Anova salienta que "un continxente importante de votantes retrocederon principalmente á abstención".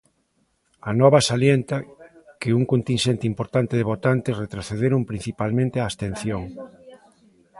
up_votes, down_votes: 0, 2